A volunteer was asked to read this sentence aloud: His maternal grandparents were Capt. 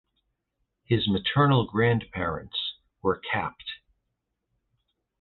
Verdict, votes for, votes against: accepted, 2, 0